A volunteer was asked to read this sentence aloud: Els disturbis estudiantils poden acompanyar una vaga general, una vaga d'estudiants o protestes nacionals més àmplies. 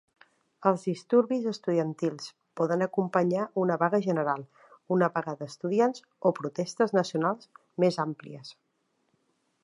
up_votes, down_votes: 2, 0